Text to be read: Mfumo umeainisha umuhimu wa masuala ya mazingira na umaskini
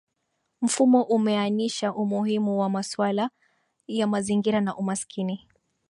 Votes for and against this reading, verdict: 3, 2, accepted